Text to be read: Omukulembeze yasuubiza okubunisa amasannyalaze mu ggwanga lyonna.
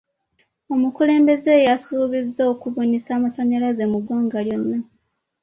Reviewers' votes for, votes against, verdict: 2, 0, accepted